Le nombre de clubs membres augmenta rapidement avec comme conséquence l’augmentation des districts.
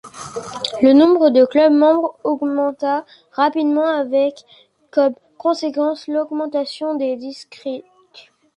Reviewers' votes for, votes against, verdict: 1, 2, rejected